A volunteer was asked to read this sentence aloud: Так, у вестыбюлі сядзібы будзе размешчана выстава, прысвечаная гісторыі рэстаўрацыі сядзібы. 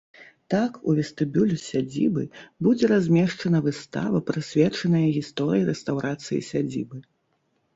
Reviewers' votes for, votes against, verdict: 2, 0, accepted